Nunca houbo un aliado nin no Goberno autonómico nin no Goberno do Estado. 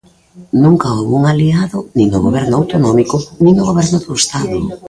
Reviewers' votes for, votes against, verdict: 0, 2, rejected